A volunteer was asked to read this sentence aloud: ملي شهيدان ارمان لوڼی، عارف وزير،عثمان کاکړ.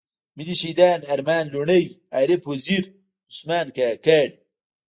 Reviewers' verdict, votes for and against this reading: rejected, 0, 2